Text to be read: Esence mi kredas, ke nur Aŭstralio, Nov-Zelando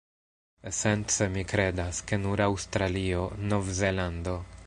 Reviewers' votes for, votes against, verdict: 1, 2, rejected